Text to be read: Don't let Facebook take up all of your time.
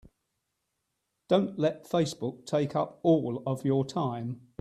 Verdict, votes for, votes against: accepted, 2, 1